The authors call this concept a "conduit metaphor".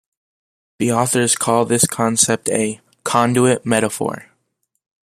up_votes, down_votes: 2, 0